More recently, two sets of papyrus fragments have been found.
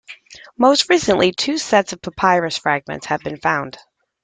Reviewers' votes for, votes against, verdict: 1, 2, rejected